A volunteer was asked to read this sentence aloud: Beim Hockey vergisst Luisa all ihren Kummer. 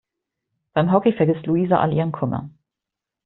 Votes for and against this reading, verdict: 2, 0, accepted